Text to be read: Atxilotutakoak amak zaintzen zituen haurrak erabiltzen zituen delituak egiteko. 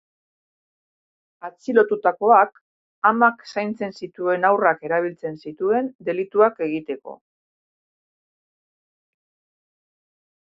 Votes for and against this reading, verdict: 0, 2, rejected